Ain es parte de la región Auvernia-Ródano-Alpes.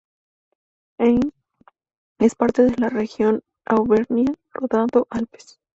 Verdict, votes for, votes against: rejected, 0, 2